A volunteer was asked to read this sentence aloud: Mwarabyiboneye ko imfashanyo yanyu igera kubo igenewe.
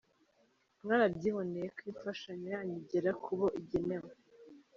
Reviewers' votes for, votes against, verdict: 1, 2, rejected